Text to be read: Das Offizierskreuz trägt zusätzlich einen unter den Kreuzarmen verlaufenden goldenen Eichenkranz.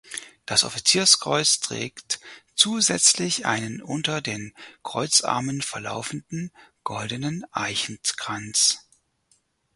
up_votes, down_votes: 2, 4